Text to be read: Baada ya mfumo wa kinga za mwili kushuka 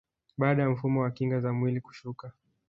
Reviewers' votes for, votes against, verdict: 1, 2, rejected